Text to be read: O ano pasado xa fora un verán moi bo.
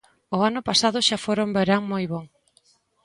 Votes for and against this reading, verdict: 2, 0, accepted